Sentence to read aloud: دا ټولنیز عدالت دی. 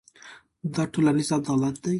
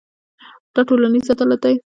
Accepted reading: first